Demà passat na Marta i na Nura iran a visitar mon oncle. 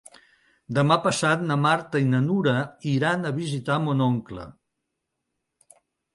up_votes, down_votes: 2, 0